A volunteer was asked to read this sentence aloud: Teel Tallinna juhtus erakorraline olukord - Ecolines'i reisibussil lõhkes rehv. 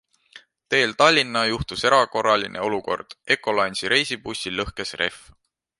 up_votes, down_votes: 2, 0